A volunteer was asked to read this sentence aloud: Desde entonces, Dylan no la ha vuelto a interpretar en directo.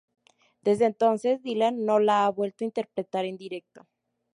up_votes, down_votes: 2, 0